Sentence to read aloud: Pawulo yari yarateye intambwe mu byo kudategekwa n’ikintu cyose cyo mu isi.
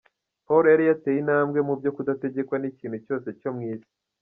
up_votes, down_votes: 2, 0